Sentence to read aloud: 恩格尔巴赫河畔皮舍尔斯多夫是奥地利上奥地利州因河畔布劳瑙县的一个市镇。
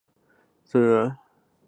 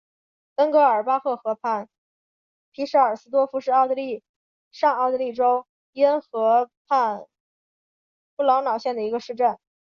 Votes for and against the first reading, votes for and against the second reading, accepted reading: 1, 2, 3, 0, second